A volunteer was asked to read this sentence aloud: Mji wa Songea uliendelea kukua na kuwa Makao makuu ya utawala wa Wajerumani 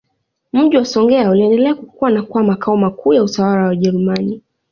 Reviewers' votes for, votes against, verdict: 2, 0, accepted